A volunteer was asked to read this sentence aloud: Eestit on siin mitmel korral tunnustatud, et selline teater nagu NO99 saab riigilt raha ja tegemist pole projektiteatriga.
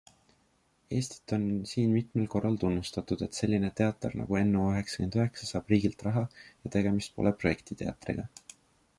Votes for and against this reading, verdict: 0, 2, rejected